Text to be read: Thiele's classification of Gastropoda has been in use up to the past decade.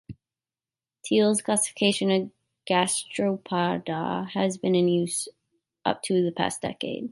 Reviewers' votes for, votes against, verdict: 0, 2, rejected